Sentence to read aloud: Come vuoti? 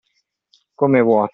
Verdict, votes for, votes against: rejected, 0, 2